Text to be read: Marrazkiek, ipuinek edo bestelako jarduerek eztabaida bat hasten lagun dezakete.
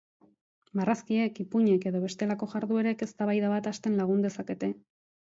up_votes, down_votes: 2, 0